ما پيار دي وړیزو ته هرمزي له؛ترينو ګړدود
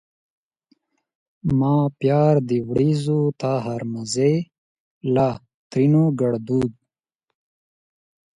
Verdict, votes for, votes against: rejected, 2, 4